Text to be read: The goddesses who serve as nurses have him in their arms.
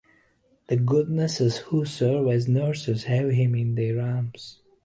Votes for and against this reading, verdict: 1, 2, rejected